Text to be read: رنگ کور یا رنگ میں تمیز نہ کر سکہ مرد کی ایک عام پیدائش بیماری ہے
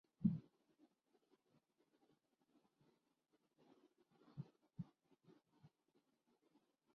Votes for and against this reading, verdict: 0, 2, rejected